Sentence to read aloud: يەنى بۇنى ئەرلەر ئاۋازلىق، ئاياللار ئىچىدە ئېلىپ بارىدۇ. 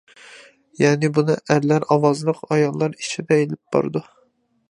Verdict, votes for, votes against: accepted, 2, 0